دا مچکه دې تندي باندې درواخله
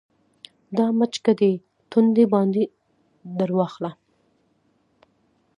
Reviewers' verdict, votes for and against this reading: accepted, 2, 0